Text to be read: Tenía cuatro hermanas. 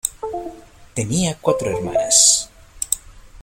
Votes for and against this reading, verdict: 1, 2, rejected